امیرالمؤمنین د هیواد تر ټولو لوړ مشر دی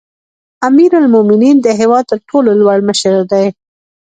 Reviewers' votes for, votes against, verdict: 1, 2, rejected